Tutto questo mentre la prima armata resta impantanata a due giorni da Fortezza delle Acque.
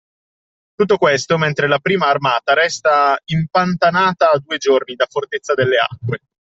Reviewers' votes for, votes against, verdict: 2, 0, accepted